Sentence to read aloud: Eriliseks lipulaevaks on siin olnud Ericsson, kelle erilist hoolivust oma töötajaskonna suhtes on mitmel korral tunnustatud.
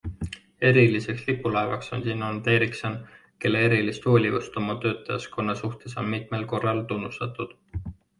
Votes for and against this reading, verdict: 2, 0, accepted